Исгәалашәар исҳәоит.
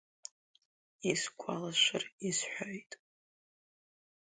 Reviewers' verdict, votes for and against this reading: accepted, 3, 1